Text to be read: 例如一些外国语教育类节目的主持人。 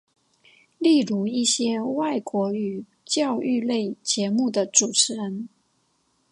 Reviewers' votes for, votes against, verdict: 6, 0, accepted